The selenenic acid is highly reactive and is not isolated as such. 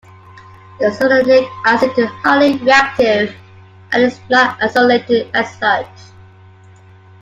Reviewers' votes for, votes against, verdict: 1, 2, rejected